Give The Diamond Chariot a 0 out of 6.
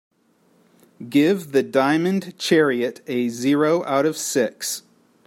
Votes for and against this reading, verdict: 0, 2, rejected